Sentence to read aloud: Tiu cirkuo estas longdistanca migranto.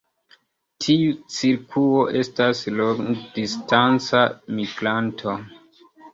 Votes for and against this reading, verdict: 0, 2, rejected